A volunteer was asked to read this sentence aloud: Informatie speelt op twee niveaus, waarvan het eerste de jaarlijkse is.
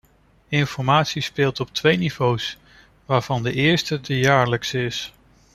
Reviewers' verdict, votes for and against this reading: rejected, 0, 2